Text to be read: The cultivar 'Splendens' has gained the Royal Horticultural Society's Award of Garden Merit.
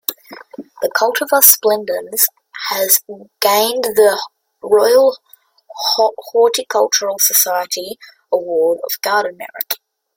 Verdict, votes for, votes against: rejected, 0, 2